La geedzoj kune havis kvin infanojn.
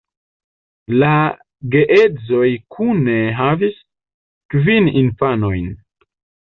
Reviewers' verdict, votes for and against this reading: rejected, 1, 2